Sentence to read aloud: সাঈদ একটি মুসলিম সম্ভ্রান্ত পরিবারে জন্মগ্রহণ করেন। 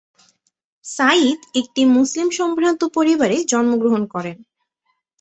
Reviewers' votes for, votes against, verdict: 2, 0, accepted